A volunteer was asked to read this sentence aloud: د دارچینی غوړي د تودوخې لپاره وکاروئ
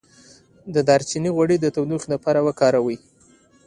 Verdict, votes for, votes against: accepted, 2, 0